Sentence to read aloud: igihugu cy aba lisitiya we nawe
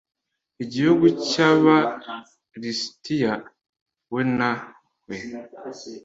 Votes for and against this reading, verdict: 2, 0, accepted